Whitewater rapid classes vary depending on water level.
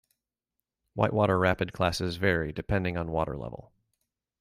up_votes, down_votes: 2, 0